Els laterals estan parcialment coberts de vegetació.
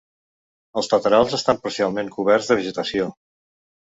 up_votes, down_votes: 2, 0